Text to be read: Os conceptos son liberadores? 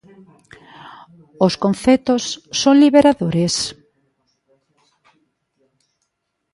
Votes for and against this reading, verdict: 1, 2, rejected